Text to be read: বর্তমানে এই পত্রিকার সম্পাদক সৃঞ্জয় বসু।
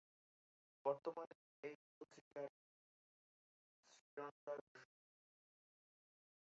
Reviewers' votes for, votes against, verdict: 0, 2, rejected